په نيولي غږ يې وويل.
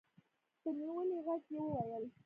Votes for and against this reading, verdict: 1, 2, rejected